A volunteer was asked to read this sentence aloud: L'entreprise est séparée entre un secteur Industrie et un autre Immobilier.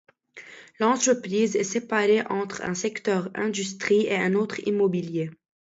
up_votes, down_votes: 2, 0